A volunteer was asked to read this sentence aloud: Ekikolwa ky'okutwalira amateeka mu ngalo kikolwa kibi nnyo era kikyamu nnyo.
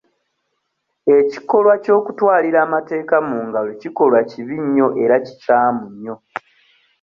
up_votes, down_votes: 2, 0